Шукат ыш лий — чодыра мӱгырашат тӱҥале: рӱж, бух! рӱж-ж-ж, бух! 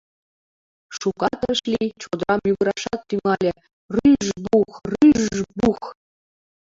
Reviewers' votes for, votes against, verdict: 1, 2, rejected